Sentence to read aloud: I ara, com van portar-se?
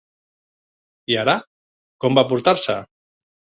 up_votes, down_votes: 0, 3